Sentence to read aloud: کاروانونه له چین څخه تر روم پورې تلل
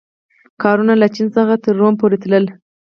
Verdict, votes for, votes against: rejected, 2, 4